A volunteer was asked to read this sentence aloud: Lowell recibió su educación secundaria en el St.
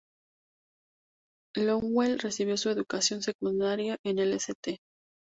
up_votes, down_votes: 6, 0